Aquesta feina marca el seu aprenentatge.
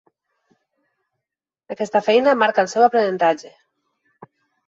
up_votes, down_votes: 3, 0